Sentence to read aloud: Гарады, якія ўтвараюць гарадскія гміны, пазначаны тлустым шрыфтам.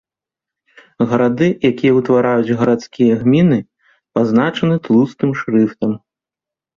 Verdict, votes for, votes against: accepted, 2, 0